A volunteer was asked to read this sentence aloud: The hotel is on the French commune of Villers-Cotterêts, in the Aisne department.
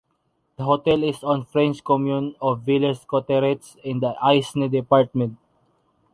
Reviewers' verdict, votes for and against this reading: accepted, 2, 0